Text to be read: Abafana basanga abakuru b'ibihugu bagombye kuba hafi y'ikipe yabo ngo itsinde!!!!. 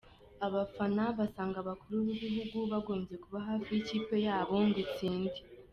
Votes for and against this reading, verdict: 2, 0, accepted